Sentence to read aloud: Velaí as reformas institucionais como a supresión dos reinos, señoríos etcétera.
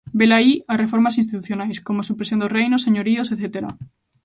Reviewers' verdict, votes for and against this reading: accepted, 2, 0